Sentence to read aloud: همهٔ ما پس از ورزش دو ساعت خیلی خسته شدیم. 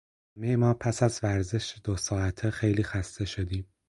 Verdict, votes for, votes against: rejected, 2, 4